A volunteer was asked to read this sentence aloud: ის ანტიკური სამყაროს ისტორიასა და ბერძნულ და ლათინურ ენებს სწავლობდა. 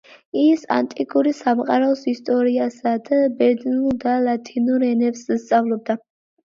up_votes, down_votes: 2, 1